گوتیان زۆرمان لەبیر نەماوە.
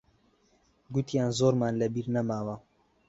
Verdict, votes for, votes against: accepted, 2, 1